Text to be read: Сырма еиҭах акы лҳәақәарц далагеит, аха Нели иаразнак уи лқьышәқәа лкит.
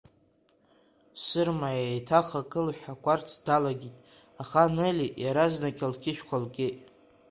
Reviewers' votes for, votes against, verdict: 2, 3, rejected